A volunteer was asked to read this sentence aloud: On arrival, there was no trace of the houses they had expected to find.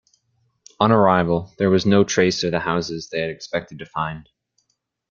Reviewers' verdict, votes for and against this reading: accepted, 2, 0